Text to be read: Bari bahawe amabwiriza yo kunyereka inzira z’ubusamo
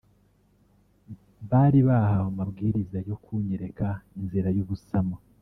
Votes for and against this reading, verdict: 1, 2, rejected